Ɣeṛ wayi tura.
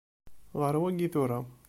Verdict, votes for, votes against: accepted, 2, 0